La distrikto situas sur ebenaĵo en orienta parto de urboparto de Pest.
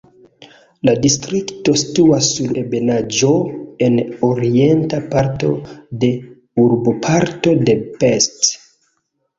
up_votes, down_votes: 2, 0